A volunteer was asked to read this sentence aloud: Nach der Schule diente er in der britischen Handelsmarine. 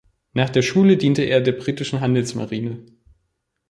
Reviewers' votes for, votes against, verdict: 1, 2, rejected